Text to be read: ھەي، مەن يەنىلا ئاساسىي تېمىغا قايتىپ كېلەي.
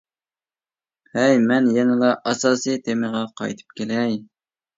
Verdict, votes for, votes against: accepted, 2, 0